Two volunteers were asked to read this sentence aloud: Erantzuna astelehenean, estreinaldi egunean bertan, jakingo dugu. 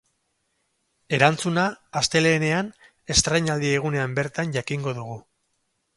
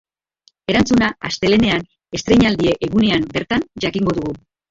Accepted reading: second